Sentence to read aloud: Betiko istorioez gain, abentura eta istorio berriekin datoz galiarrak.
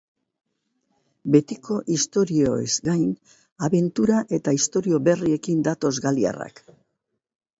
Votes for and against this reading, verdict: 4, 2, accepted